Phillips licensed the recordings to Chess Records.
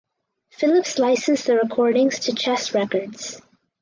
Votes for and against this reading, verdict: 4, 0, accepted